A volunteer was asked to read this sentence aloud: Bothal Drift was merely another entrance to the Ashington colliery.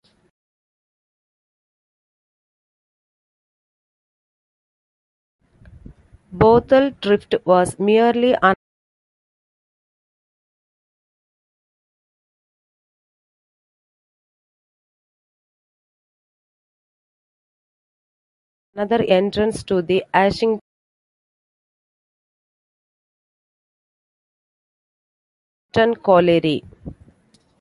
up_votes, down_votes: 0, 2